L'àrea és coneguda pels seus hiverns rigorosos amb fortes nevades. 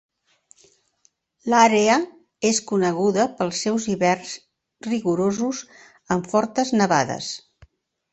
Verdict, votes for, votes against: accepted, 3, 0